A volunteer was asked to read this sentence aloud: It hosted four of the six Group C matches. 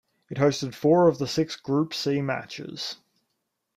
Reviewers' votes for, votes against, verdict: 2, 0, accepted